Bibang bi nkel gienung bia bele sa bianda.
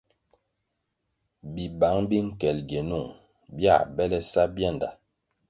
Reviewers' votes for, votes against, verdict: 2, 0, accepted